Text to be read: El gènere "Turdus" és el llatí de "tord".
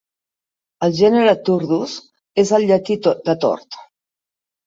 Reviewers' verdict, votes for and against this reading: rejected, 1, 2